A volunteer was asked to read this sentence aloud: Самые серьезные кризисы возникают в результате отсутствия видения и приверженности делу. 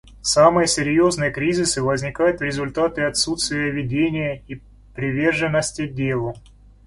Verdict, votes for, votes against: rejected, 1, 2